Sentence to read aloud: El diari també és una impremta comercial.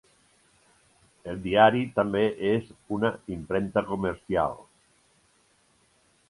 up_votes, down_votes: 0, 2